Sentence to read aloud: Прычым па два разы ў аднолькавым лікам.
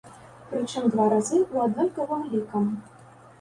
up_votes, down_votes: 1, 2